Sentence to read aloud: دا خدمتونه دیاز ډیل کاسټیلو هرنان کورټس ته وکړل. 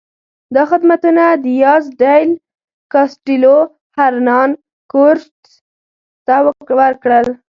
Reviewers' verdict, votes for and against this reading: rejected, 0, 2